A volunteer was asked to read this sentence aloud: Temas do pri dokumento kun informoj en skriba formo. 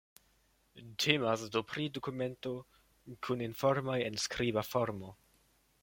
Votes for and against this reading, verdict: 2, 0, accepted